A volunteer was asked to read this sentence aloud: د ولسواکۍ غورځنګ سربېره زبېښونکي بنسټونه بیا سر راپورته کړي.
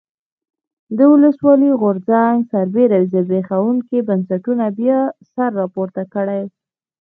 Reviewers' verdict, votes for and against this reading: rejected, 1, 2